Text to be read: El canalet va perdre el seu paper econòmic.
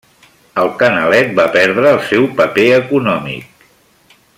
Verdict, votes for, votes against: accepted, 3, 0